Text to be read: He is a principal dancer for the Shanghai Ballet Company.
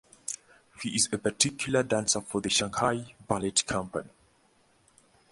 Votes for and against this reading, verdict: 0, 2, rejected